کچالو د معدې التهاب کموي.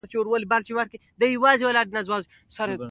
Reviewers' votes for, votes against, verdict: 1, 2, rejected